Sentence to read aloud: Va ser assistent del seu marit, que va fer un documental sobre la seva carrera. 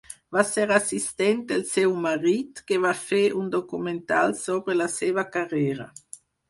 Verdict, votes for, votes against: accepted, 4, 0